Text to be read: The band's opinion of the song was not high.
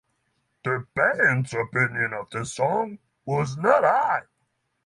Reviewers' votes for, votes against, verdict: 3, 6, rejected